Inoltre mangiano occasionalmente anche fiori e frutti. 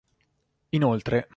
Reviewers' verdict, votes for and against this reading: rejected, 0, 2